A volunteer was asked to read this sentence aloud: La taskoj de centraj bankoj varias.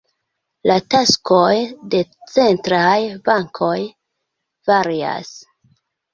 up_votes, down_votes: 1, 2